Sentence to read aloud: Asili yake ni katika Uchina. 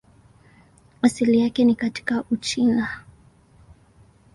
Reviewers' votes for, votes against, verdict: 10, 1, accepted